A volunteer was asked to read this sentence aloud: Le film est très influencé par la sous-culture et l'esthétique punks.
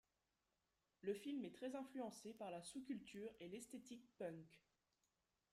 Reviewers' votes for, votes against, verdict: 0, 2, rejected